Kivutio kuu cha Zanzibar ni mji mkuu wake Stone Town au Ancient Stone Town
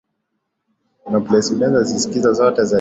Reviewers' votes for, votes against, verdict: 1, 4, rejected